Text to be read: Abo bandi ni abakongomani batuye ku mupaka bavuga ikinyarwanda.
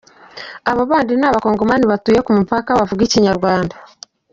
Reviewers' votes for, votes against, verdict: 2, 0, accepted